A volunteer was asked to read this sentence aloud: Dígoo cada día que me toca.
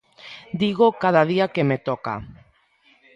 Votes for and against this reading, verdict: 2, 0, accepted